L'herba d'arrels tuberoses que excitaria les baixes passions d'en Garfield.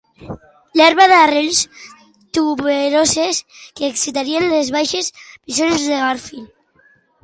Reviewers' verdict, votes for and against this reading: rejected, 1, 3